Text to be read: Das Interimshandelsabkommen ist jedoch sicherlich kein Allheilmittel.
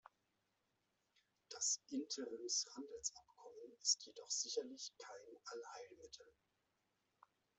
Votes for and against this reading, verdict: 2, 0, accepted